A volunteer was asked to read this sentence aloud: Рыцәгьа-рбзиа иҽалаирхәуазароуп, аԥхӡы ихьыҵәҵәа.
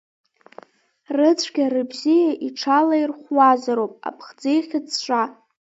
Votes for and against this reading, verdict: 0, 2, rejected